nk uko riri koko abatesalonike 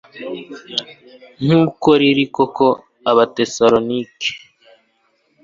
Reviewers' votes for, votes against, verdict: 2, 0, accepted